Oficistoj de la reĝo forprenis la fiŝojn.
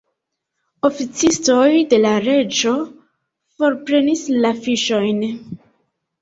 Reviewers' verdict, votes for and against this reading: accepted, 2, 0